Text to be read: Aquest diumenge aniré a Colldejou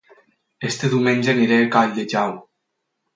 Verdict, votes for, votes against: rejected, 4, 6